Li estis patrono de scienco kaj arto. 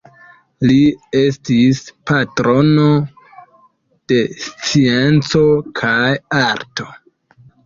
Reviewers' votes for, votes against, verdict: 2, 0, accepted